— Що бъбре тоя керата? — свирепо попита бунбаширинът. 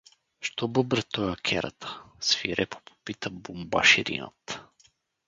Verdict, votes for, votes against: accepted, 4, 0